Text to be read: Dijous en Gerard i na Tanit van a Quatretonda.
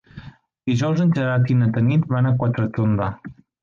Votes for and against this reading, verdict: 0, 2, rejected